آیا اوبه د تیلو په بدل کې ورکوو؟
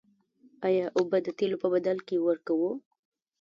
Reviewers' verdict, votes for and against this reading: rejected, 1, 2